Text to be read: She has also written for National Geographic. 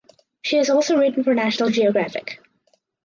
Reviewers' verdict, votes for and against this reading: accepted, 4, 2